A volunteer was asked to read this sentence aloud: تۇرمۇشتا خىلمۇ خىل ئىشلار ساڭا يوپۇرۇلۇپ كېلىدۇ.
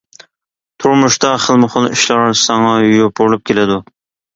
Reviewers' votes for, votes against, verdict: 2, 1, accepted